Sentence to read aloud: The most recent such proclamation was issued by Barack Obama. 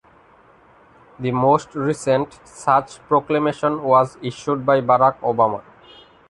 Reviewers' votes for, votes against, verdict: 2, 0, accepted